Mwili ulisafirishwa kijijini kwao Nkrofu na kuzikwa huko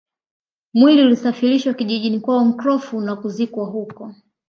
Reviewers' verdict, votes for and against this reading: accepted, 2, 0